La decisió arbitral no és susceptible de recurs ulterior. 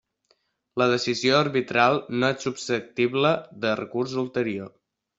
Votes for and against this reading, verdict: 2, 0, accepted